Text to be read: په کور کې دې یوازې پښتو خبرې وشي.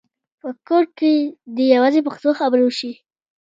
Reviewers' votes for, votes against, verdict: 2, 0, accepted